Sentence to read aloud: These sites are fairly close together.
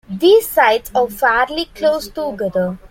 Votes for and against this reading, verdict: 2, 0, accepted